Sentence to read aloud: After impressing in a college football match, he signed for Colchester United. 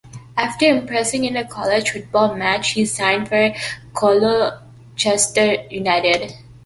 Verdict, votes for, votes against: accepted, 2, 1